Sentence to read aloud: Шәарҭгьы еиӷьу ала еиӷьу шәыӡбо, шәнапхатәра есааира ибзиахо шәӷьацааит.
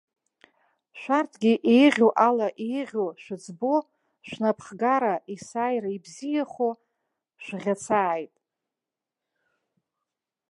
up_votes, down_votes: 1, 2